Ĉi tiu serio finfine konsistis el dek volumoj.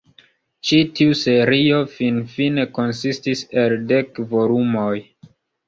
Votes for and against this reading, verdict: 0, 2, rejected